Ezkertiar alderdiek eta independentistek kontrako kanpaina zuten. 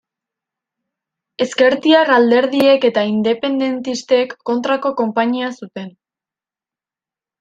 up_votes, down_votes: 0, 2